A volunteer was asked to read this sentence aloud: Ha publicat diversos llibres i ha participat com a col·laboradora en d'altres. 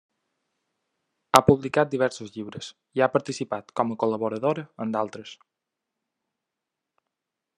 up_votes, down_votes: 2, 0